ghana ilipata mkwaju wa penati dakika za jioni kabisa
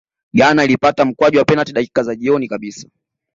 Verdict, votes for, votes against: rejected, 0, 2